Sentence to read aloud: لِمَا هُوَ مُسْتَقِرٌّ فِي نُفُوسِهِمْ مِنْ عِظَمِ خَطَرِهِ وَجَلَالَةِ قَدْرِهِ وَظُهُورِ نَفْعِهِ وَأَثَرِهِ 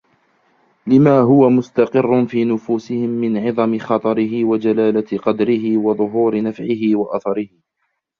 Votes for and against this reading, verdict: 1, 2, rejected